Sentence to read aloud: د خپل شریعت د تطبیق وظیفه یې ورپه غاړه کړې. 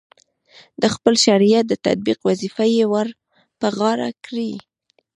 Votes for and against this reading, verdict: 2, 1, accepted